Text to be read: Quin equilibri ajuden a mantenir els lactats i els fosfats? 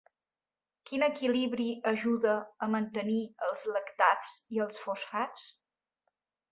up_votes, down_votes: 1, 3